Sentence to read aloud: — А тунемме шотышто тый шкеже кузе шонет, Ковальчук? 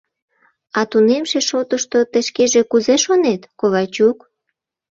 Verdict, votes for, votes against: rejected, 1, 2